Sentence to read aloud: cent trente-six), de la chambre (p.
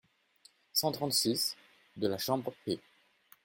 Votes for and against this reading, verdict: 2, 0, accepted